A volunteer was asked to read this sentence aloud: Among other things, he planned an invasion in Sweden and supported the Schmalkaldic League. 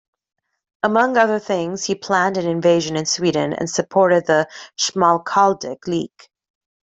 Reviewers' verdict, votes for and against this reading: accepted, 2, 0